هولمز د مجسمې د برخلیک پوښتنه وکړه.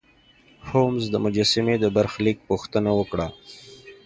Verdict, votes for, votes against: rejected, 1, 2